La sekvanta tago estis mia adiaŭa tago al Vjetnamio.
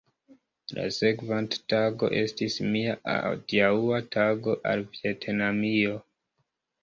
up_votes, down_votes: 1, 2